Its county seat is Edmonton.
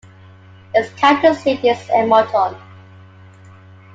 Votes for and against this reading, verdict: 1, 2, rejected